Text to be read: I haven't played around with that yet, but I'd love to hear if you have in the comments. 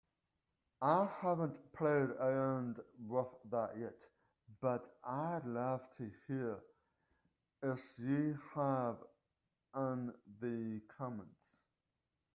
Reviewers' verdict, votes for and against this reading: rejected, 1, 2